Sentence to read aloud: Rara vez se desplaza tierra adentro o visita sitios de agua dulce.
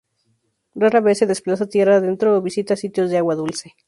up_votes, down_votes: 2, 2